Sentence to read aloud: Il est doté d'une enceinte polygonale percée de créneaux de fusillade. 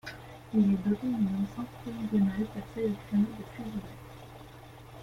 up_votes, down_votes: 1, 2